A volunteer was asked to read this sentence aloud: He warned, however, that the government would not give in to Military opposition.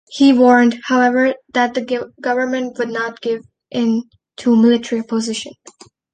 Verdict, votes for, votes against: rejected, 1, 2